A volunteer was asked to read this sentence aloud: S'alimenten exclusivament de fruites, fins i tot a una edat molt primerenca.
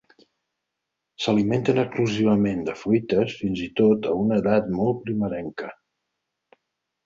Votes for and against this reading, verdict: 2, 4, rejected